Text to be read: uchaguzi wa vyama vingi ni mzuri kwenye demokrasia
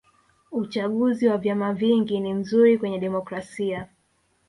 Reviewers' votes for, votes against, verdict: 3, 1, accepted